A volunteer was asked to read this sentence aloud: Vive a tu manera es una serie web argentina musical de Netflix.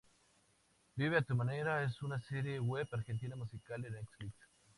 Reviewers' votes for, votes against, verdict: 2, 0, accepted